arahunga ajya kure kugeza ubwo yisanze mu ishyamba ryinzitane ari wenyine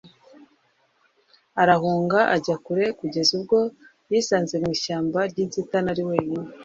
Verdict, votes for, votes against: accepted, 2, 1